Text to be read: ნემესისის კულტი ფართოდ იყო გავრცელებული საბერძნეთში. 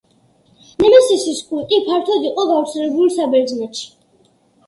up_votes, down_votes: 1, 2